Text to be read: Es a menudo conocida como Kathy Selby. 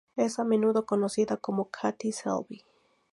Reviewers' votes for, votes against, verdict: 0, 2, rejected